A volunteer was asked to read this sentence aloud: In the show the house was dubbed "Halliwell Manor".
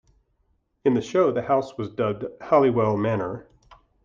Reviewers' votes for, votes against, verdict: 2, 0, accepted